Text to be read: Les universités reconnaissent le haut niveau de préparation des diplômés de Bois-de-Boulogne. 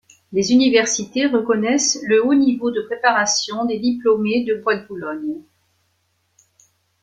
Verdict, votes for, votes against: accepted, 2, 0